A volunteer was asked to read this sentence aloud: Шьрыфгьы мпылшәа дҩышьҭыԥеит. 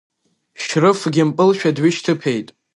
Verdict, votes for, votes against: accepted, 2, 0